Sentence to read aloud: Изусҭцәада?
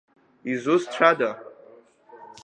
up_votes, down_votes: 2, 0